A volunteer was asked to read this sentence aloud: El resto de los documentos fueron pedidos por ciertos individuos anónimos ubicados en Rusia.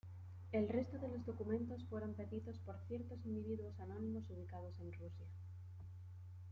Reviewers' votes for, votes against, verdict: 2, 0, accepted